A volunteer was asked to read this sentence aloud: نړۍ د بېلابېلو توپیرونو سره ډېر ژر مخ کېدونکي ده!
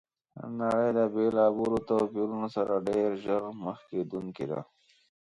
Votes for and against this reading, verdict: 3, 1, accepted